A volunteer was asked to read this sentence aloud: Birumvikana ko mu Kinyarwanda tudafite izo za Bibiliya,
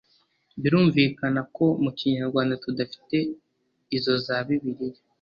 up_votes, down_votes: 2, 0